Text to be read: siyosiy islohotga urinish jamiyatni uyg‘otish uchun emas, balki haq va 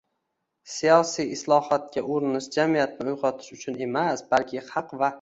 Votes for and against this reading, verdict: 1, 2, rejected